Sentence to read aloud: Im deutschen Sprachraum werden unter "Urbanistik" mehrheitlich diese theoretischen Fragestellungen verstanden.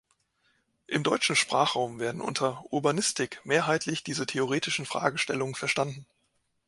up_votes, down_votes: 3, 0